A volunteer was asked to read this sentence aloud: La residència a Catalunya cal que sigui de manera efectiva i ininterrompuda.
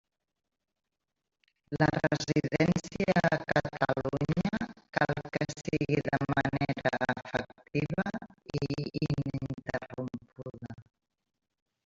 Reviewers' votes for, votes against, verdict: 0, 2, rejected